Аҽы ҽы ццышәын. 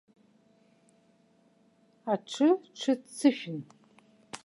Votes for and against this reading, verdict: 2, 0, accepted